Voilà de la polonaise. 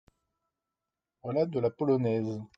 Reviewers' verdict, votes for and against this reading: rejected, 1, 2